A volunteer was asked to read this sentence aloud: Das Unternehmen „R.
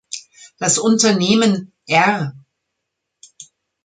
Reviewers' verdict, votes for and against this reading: accepted, 2, 0